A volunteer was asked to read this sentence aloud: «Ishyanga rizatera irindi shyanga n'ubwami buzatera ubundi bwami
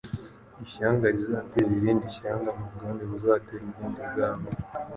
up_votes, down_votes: 2, 0